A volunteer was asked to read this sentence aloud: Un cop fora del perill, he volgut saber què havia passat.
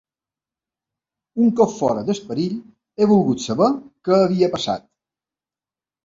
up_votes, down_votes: 1, 2